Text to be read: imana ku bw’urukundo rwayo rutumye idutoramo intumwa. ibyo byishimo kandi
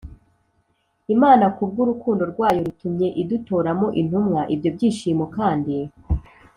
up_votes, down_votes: 3, 0